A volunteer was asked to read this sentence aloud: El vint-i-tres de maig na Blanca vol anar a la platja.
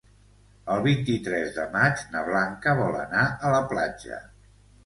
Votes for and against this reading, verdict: 2, 0, accepted